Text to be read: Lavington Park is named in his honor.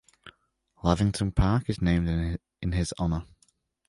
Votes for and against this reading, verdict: 1, 2, rejected